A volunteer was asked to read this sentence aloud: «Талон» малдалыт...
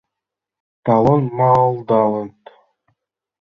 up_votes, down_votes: 2, 4